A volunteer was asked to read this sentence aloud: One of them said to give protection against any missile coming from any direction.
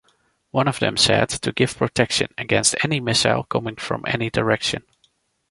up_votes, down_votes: 2, 0